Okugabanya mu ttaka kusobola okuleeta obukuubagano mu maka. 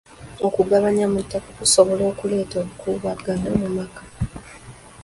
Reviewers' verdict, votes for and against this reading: accepted, 2, 0